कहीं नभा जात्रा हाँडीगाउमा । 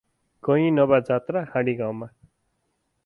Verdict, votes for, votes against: accepted, 4, 0